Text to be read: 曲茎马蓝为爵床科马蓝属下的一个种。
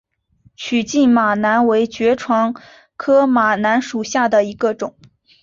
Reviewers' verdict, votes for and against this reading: accepted, 4, 0